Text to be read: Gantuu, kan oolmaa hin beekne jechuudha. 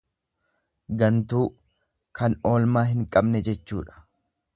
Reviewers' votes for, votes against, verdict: 1, 2, rejected